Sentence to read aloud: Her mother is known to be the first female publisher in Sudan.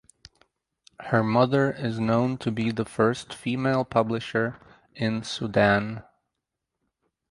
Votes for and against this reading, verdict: 4, 2, accepted